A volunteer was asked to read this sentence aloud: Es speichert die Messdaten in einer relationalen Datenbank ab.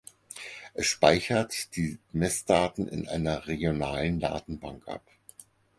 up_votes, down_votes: 0, 4